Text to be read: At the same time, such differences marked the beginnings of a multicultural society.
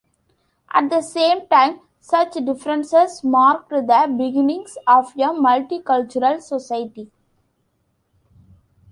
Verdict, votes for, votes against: accepted, 2, 1